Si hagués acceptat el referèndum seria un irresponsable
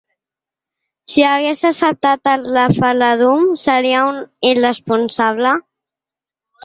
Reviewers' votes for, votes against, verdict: 1, 2, rejected